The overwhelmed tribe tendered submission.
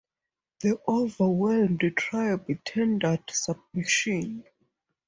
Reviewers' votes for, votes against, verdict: 4, 0, accepted